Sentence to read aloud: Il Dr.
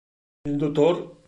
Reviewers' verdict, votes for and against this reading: rejected, 1, 2